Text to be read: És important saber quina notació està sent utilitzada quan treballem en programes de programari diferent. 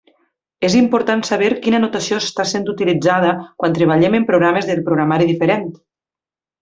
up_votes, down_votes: 2, 0